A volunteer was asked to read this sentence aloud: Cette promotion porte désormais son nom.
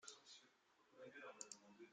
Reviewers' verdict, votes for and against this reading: rejected, 0, 2